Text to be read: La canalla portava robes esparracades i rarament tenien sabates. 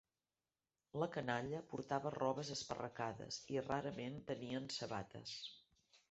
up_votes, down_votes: 1, 2